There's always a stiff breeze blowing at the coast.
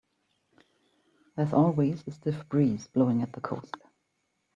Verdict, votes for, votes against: accepted, 2, 0